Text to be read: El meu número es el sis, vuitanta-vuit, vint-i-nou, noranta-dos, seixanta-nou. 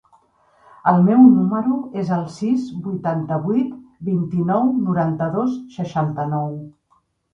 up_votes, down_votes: 4, 0